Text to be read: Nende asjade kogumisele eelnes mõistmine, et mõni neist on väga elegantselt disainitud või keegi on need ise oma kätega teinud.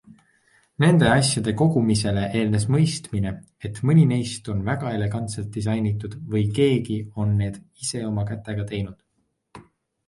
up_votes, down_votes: 2, 0